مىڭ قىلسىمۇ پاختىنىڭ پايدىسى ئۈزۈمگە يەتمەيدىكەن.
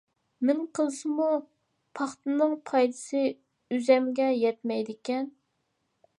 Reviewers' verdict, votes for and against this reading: rejected, 0, 2